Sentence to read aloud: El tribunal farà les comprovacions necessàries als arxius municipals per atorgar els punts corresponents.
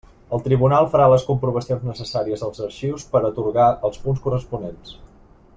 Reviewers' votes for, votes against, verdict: 0, 2, rejected